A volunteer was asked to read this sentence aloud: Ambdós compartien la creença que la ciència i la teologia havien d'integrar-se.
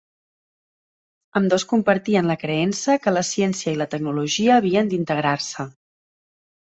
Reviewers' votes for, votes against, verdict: 0, 2, rejected